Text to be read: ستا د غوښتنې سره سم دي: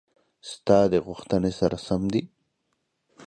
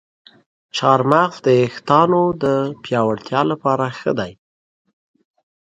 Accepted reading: first